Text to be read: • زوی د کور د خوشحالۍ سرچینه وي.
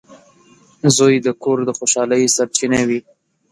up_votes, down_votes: 2, 0